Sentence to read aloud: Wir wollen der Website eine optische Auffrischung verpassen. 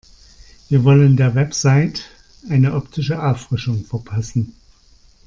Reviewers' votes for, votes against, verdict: 2, 1, accepted